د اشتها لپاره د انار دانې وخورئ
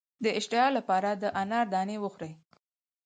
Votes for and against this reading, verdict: 4, 0, accepted